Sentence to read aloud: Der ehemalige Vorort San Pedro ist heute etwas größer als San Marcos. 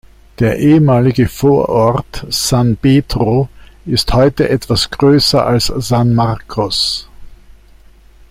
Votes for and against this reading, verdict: 2, 0, accepted